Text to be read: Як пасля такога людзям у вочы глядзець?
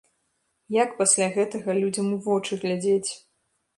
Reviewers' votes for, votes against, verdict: 0, 2, rejected